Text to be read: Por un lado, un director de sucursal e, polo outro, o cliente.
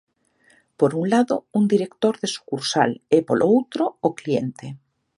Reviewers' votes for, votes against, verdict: 2, 0, accepted